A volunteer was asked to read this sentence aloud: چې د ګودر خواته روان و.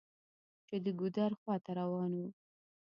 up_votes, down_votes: 0, 2